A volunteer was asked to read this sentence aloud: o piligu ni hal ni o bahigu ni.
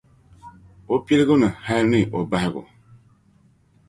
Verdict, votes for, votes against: rejected, 1, 2